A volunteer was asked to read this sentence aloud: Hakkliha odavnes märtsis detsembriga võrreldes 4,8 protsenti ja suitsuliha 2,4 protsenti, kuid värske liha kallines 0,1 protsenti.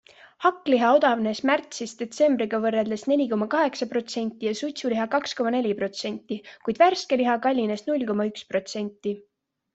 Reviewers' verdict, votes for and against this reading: rejected, 0, 2